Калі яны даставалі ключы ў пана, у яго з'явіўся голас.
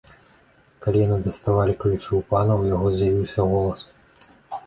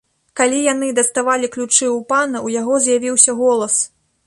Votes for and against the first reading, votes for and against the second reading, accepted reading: 1, 2, 2, 0, second